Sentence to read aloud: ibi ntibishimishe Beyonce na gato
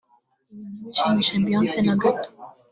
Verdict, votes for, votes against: accepted, 2, 0